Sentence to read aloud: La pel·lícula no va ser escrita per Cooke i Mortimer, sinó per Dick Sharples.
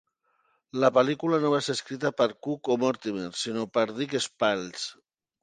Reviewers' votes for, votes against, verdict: 0, 2, rejected